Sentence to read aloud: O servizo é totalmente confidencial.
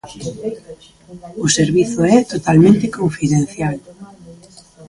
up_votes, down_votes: 0, 2